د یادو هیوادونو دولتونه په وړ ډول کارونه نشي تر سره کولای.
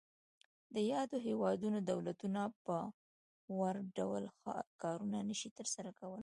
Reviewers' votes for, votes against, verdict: 2, 0, accepted